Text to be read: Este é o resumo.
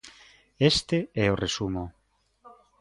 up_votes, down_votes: 3, 0